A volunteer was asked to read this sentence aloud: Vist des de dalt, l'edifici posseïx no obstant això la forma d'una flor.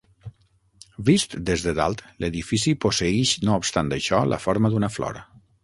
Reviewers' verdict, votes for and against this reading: rejected, 3, 6